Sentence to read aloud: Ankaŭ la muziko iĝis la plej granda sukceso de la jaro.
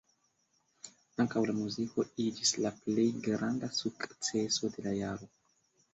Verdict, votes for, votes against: accepted, 2, 0